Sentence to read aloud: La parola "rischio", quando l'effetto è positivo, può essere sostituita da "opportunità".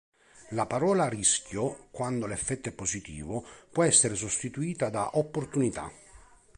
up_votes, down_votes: 3, 0